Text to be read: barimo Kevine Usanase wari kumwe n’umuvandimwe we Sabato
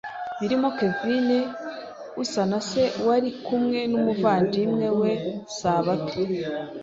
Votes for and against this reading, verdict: 2, 0, accepted